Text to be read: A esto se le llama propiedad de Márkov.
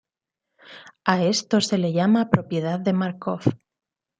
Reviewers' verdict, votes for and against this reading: accepted, 2, 0